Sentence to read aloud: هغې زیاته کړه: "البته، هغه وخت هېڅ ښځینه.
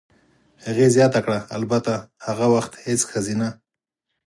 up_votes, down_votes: 6, 0